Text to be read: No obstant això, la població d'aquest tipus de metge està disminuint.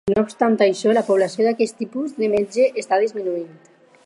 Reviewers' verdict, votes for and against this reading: accepted, 4, 0